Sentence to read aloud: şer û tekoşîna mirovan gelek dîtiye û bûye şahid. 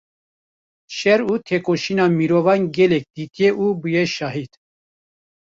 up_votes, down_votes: 1, 2